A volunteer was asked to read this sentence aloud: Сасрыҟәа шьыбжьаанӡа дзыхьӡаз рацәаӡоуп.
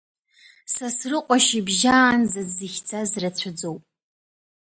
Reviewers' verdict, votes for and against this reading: accepted, 2, 0